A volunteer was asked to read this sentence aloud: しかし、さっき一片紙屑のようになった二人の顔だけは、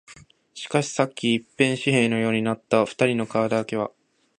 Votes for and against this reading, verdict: 0, 2, rejected